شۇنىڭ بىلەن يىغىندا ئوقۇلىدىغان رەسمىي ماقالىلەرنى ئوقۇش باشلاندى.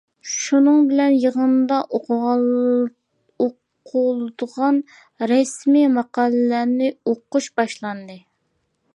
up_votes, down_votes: 0, 2